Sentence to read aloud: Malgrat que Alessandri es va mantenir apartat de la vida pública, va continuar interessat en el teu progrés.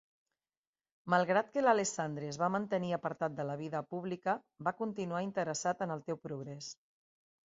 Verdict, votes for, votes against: rejected, 0, 2